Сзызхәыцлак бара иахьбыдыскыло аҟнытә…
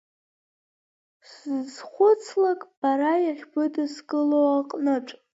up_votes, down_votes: 2, 1